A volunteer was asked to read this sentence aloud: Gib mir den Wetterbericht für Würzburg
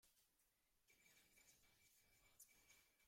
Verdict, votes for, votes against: rejected, 1, 2